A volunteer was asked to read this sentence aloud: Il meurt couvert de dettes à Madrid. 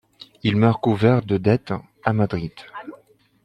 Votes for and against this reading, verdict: 3, 2, accepted